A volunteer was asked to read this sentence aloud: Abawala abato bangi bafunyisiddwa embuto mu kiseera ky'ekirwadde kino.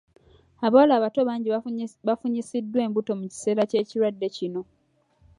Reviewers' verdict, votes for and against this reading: rejected, 1, 2